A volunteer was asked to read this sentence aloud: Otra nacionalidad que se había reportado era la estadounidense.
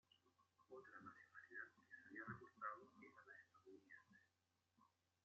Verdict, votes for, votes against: rejected, 0, 2